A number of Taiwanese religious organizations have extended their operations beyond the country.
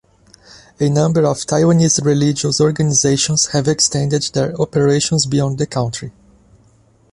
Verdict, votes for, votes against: accepted, 2, 1